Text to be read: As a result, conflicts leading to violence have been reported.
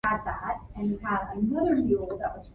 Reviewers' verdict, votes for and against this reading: rejected, 0, 2